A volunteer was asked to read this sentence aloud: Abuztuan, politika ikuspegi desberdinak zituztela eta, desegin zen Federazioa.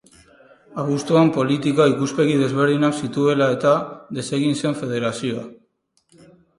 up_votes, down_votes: 0, 4